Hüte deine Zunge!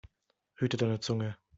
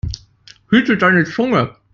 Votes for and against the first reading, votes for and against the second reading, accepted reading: 2, 0, 1, 2, first